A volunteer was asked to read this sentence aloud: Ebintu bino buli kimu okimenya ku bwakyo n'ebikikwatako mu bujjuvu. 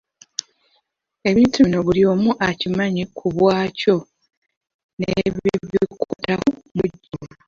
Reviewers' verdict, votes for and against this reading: rejected, 1, 3